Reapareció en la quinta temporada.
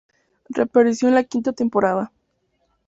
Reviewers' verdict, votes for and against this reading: accepted, 2, 0